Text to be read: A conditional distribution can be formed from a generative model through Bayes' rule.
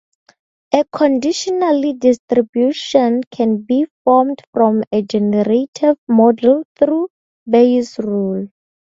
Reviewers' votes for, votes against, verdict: 2, 0, accepted